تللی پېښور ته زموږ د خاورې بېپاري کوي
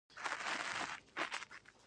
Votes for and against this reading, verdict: 1, 2, rejected